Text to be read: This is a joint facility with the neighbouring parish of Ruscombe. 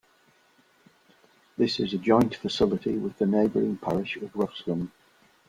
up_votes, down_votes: 2, 0